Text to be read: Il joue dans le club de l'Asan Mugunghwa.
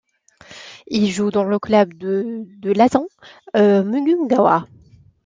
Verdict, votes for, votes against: rejected, 0, 2